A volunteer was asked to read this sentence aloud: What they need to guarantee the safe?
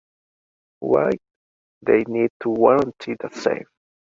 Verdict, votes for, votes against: rejected, 1, 2